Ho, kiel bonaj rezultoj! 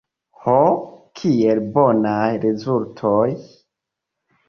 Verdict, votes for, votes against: rejected, 1, 2